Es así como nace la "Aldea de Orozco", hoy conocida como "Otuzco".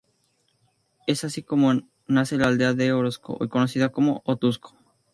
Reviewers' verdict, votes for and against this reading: accepted, 2, 0